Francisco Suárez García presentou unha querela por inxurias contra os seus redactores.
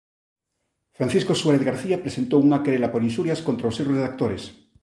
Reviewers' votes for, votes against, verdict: 1, 2, rejected